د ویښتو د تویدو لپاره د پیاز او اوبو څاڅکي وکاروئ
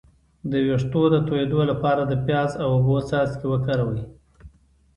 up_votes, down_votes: 2, 0